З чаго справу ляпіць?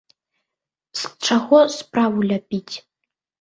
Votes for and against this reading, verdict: 2, 0, accepted